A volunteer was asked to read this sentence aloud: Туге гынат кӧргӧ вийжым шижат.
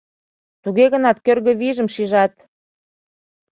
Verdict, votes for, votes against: accepted, 2, 0